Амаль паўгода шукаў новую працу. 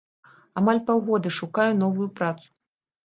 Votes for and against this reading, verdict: 1, 2, rejected